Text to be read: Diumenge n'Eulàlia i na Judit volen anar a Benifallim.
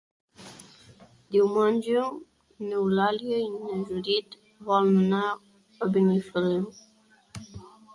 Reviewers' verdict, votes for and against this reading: rejected, 0, 2